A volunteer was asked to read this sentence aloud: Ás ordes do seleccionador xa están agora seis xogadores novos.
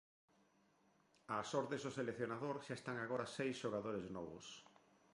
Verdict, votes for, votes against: accepted, 2, 0